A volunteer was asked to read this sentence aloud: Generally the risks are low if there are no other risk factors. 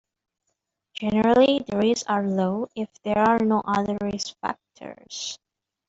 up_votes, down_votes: 2, 1